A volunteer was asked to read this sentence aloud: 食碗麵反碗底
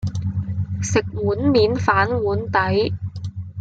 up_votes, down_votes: 1, 2